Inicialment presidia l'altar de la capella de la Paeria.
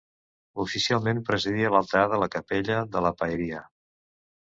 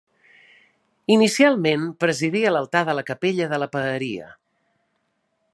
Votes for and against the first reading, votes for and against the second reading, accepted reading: 0, 2, 3, 0, second